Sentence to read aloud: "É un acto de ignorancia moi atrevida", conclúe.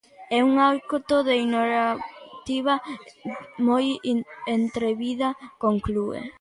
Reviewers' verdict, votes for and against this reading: rejected, 0, 2